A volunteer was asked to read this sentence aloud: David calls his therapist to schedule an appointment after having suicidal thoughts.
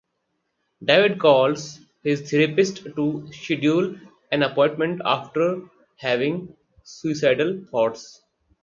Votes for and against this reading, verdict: 2, 4, rejected